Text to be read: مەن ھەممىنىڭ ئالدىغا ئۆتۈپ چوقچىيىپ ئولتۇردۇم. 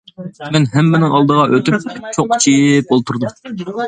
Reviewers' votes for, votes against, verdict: 2, 1, accepted